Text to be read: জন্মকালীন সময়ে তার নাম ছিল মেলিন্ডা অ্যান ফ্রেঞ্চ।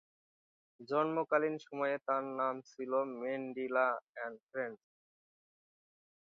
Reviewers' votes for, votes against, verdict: 0, 2, rejected